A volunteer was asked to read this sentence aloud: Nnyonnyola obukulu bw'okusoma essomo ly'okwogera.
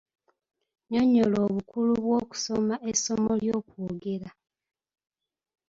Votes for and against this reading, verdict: 2, 0, accepted